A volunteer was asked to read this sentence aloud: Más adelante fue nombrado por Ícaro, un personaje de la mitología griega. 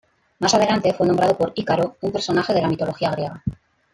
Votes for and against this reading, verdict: 1, 2, rejected